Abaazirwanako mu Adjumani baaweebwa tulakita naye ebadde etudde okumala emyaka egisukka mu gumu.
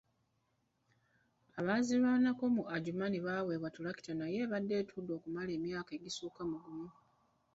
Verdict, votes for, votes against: rejected, 1, 2